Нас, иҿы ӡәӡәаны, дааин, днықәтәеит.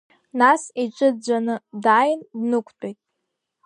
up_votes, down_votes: 2, 1